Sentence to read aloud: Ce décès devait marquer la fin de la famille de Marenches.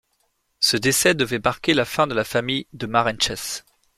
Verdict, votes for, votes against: rejected, 1, 2